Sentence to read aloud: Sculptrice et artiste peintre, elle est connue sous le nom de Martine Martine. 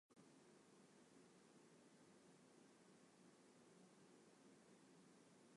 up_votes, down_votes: 0, 2